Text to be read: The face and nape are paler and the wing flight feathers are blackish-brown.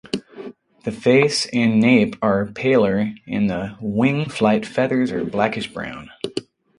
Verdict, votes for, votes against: accepted, 6, 0